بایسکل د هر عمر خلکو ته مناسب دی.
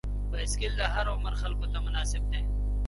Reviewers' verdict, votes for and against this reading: rejected, 1, 3